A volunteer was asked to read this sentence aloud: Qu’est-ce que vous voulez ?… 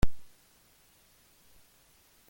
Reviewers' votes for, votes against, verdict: 0, 2, rejected